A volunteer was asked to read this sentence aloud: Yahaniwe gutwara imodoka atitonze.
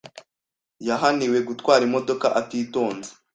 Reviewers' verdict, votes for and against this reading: accepted, 2, 0